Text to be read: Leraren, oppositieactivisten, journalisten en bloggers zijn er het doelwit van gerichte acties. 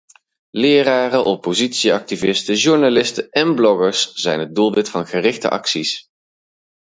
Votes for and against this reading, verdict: 2, 2, rejected